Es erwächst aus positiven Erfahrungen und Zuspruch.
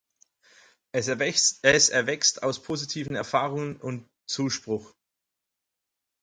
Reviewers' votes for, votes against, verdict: 0, 4, rejected